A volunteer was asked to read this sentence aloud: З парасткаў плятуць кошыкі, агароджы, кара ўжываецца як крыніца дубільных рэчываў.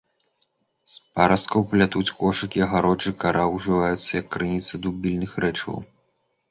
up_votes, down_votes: 2, 0